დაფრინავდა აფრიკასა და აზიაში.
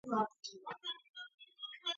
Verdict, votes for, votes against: rejected, 0, 2